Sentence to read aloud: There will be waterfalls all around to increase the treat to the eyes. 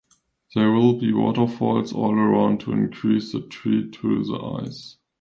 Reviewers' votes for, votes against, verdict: 0, 2, rejected